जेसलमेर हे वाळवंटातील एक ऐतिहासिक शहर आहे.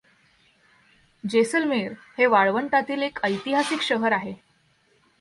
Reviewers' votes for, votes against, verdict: 2, 0, accepted